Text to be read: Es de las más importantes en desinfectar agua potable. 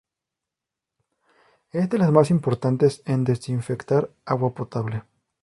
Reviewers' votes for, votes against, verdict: 2, 0, accepted